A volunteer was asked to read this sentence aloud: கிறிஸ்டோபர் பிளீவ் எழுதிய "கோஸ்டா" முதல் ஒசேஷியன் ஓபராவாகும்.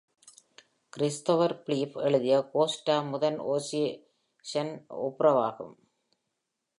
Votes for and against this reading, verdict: 1, 2, rejected